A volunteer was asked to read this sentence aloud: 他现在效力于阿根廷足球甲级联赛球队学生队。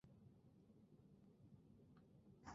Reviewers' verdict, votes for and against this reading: rejected, 1, 2